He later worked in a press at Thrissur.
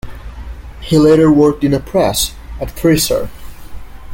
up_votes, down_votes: 2, 0